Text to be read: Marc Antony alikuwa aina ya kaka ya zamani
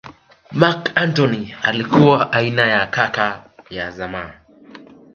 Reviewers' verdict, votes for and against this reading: rejected, 1, 2